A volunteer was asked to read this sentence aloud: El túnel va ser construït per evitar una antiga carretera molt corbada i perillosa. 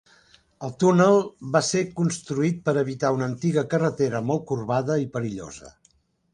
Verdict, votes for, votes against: accepted, 3, 0